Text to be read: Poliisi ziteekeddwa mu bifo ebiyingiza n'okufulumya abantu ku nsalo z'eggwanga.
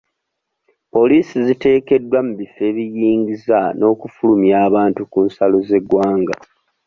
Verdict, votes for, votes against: accepted, 2, 1